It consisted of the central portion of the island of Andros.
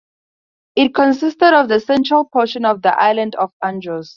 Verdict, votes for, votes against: accepted, 2, 0